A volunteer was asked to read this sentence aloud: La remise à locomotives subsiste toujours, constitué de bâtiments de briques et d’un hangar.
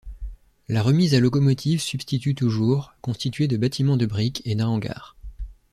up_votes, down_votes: 1, 2